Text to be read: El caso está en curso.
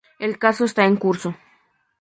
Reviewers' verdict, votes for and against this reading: accepted, 2, 0